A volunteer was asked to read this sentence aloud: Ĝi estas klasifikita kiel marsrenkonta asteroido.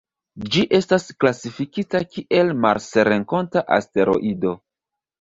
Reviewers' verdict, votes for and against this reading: accepted, 2, 0